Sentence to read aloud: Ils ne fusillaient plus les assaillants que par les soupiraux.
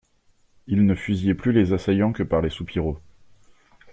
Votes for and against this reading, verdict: 2, 0, accepted